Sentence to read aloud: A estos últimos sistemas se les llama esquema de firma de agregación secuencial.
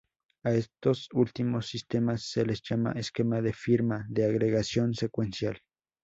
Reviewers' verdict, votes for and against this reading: accepted, 2, 0